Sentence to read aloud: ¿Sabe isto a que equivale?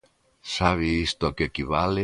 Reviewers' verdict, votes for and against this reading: accepted, 2, 0